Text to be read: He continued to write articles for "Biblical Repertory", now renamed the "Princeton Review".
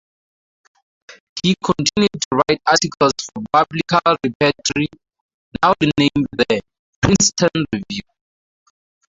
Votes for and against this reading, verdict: 2, 4, rejected